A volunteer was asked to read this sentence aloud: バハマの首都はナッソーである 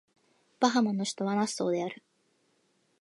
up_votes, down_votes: 2, 0